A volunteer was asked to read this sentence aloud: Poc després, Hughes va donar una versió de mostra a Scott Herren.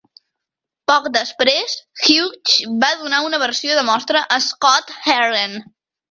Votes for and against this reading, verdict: 1, 2, rejected